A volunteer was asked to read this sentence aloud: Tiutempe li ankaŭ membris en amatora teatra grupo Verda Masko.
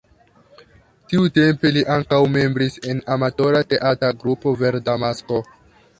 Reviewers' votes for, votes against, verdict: 2, 1, accepted